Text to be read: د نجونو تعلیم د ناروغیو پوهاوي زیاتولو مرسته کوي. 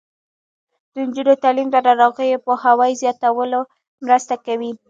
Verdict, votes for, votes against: accepted, 2, 0